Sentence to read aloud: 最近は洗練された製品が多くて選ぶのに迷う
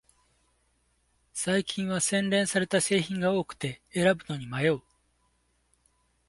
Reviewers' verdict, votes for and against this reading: accepted, 2, 1